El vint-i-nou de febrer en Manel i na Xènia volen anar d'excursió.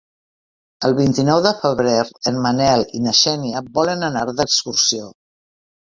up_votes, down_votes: 2, 0